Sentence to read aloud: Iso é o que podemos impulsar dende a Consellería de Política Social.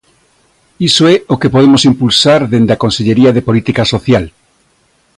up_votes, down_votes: 2, 0